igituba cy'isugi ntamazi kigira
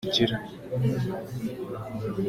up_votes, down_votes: 0, 2